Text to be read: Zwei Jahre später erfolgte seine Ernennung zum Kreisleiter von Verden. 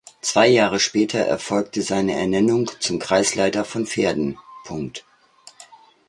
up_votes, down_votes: 0, 2